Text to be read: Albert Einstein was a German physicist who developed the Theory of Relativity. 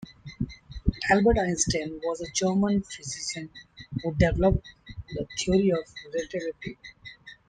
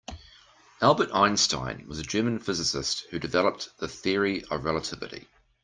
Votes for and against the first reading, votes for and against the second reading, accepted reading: 1, 2, 2, 0, second